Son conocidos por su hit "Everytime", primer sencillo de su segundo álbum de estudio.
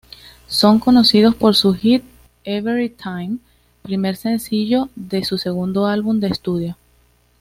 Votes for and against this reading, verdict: 2, 0, accepted